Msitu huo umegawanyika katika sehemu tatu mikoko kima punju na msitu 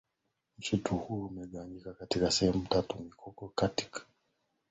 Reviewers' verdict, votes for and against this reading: rejected, 0, 2